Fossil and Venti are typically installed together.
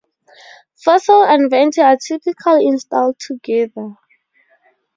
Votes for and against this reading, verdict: 4, 0, accepted